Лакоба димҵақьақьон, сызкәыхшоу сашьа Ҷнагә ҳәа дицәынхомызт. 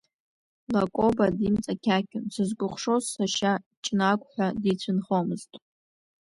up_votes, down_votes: 2, 0